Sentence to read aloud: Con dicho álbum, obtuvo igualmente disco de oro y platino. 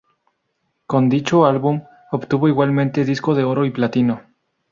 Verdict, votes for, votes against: rejected, 2, 2